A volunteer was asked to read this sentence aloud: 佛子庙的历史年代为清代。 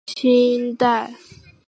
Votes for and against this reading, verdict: 2, 5, rejected